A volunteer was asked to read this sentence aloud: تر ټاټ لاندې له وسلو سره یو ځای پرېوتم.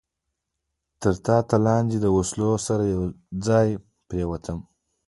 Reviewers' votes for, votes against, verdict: 2, 1, accepted